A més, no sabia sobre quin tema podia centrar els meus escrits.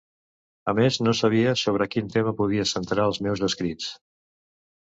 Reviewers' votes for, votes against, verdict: 2, 1, accepted